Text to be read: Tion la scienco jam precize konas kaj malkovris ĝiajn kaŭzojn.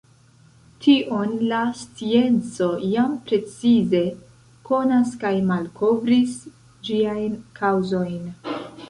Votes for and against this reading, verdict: 2, 1, accepted